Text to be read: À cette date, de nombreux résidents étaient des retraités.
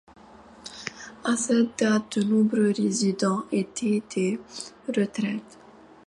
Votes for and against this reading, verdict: 1, 2, rejected